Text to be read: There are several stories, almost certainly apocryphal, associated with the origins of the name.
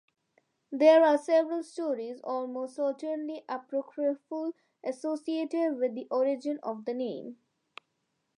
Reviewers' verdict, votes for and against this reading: rejected, 0, 2